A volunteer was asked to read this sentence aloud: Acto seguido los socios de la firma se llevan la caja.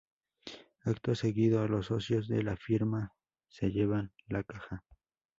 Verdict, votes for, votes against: accepted, 2, 0